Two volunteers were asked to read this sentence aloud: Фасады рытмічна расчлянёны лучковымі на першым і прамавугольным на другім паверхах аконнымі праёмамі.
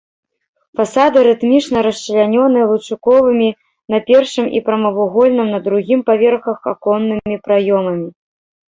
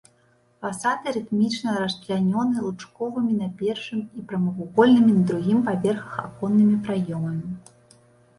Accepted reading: second